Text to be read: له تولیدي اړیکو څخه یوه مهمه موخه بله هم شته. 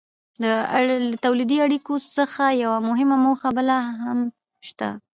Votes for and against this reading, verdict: 2, 0, accepted